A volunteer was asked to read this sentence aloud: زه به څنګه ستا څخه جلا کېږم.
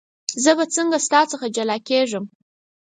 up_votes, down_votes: 4, 0